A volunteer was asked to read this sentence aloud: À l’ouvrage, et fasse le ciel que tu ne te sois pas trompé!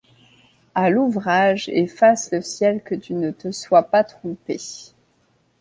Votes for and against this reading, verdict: 2, 0, accepted